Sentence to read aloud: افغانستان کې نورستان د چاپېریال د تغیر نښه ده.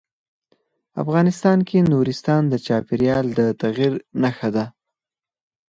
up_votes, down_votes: 4, 0